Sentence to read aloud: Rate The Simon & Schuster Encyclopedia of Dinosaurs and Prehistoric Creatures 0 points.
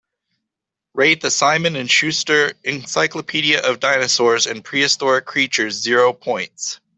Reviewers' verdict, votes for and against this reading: rejected, 0, 2